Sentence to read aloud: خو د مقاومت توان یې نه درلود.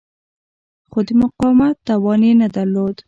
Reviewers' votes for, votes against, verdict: 2, 0, accepted